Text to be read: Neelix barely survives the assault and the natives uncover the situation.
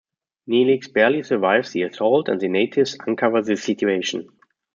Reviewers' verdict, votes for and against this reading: accepted, 2, 0